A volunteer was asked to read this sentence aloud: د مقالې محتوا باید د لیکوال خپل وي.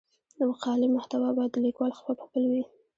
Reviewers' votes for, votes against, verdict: 2, 1, accepted